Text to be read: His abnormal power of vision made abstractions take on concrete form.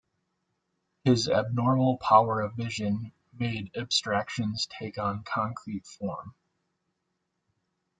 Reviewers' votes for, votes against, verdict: 2, 0, accepted